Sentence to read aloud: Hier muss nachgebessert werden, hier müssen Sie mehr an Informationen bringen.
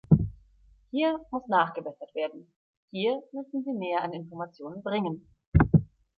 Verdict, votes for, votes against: accepted, 3, 0